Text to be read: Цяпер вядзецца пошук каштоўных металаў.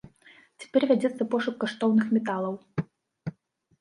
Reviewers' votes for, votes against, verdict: 2, 0, accepted